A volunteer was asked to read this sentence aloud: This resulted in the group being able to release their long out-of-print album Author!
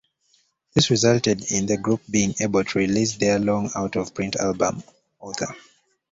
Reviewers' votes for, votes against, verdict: 2, 0, accepted